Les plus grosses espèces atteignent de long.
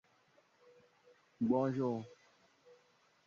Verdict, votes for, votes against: rejected, 0, 2